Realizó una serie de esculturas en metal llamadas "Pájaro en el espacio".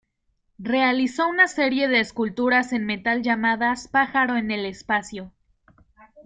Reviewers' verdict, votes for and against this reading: accepted, 2, 0